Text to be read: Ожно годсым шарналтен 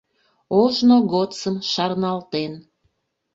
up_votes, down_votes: 2, 0